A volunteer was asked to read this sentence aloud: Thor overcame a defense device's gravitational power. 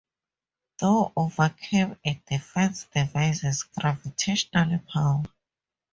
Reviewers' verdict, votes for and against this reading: accepted, 2, 0